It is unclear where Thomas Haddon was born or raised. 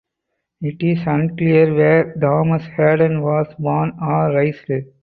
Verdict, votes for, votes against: rejected, 2, 2